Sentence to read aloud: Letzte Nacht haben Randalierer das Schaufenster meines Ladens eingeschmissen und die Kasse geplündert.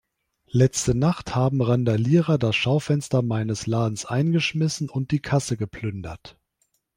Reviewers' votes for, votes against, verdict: 3, 0, accepted